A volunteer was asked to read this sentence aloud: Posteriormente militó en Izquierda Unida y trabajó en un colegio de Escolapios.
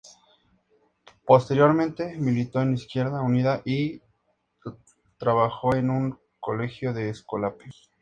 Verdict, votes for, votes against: accepted, 2, 0